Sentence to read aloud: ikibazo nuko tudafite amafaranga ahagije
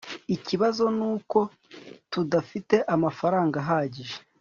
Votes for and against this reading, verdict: 2, 0, accepted